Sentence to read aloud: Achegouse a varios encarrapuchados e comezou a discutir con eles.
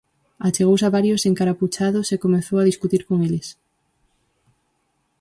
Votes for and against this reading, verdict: 0, 4, rejected